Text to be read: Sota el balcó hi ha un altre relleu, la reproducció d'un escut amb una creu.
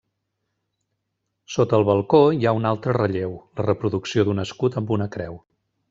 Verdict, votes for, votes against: rejected, 1, 2